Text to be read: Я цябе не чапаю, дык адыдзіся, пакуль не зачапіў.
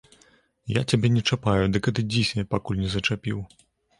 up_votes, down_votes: 2, 0